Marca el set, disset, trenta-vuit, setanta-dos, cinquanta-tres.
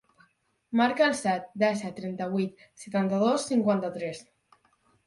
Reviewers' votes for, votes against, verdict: 0, 4, rejected